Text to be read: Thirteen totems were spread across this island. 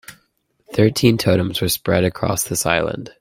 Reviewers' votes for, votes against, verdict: 2, 0, accepted